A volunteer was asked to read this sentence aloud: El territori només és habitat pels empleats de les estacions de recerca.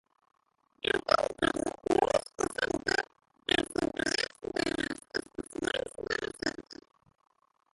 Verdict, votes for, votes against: rejected, 0, 2